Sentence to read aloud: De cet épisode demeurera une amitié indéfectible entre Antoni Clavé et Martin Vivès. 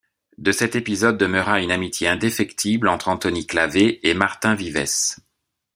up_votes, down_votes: 2, 0